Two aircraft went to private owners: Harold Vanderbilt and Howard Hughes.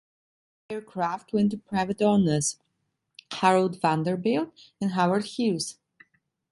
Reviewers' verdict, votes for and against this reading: rejected, 0, 2